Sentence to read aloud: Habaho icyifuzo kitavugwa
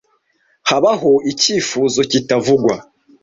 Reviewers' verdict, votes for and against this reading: accepted, 2, 0